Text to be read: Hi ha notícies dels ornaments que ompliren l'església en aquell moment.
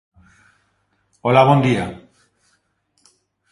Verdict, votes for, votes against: rejected, 1, 2